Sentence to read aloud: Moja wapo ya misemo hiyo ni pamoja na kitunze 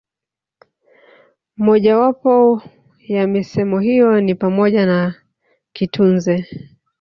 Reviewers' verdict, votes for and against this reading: accepted, 2, 1